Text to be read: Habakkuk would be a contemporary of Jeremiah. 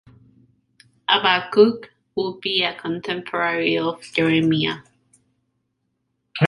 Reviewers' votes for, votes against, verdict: 2, 1, accepted